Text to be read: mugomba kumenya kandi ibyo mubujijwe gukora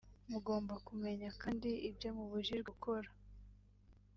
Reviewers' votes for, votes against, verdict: 2, 0, accepted